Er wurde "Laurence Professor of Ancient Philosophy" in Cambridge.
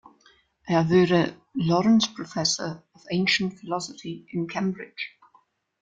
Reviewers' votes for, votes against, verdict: 1, 2, rejected